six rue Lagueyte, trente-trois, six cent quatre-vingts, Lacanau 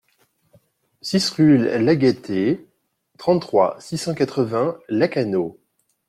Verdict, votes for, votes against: rejected, 1, 2